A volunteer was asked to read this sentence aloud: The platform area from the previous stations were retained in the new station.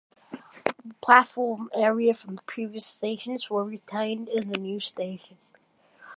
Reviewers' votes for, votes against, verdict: 1, 2, rejected